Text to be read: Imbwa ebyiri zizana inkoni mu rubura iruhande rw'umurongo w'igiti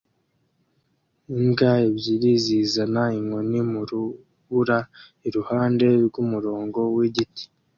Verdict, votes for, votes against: accepted, 2, 0